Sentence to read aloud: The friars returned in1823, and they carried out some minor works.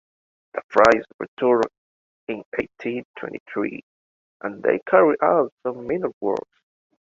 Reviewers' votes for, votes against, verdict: 0, 2, rejected